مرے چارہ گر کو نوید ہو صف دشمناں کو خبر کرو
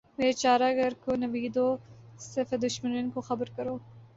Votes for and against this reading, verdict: 1, 2, rejected